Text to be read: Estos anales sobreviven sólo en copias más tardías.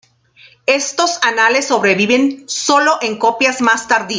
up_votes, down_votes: 0, 2